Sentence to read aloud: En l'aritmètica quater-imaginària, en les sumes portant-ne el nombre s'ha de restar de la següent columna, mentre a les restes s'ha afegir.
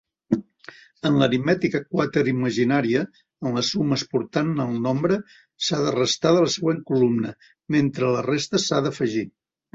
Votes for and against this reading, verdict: 0, 2, rejected